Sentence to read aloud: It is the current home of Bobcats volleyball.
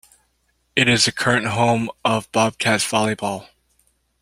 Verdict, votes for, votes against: accepted, 2, 0